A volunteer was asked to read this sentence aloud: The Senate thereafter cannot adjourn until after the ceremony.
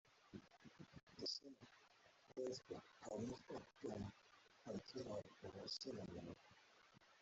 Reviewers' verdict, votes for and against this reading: rejected, 0, 2